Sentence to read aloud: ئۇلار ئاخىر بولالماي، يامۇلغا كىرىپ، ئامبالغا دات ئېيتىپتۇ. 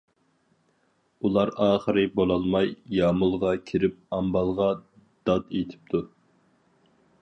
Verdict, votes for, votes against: rejected, 2, 4